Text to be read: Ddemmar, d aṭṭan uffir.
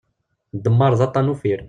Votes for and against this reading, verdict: 0, 2, rejected